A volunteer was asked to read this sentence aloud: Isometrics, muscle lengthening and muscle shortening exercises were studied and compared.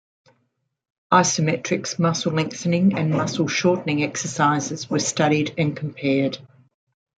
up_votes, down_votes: 2, 1